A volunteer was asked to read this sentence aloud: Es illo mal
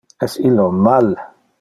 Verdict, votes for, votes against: accepted, 2, 0